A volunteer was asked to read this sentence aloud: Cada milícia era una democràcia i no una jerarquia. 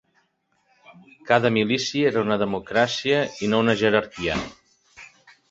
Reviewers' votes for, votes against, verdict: 2, 0, accepted